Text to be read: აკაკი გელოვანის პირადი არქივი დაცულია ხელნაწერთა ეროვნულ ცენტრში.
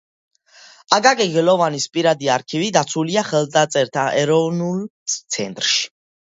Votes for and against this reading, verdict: 2, 1, accepted